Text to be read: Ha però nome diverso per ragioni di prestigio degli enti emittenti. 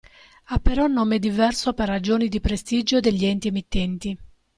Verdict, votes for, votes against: accepted, 2, 0